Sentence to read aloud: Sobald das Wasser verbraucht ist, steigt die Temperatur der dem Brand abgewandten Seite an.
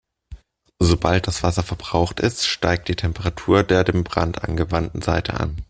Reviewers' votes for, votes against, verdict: 0, 2, rejected